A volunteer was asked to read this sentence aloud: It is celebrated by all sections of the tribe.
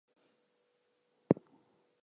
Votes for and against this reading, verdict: 2, 0, accepted